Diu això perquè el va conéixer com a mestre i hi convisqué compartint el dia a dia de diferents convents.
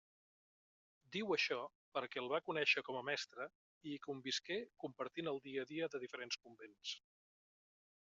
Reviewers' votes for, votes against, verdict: 2, 0, accepted